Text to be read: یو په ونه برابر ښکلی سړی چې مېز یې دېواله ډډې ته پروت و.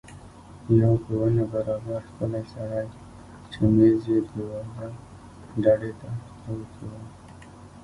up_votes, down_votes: 0, 2